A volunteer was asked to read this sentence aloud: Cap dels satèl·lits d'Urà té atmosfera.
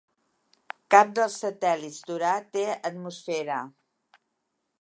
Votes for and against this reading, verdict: 4, 0, accepted